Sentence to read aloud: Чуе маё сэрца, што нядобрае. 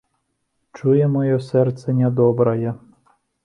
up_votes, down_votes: 0, 2